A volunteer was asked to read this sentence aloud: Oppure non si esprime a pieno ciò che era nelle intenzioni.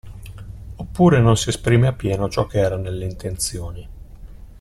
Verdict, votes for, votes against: accepted, 2, 0